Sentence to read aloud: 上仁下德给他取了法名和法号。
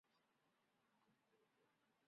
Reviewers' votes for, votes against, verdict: 1, 5, rejected